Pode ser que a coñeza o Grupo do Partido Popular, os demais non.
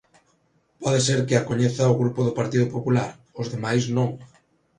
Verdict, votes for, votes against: accepted, 2, 0